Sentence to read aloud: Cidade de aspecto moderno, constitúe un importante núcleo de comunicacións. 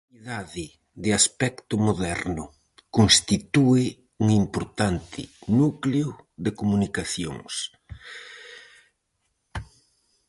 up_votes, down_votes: 0, 4